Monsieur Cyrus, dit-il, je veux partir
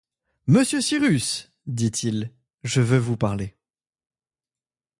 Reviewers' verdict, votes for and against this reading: rejected, 0, 2